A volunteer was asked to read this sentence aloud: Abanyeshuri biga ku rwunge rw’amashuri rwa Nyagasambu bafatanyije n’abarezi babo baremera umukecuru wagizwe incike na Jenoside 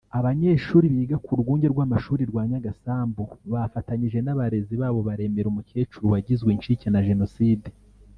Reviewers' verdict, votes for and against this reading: rejected, 0, 2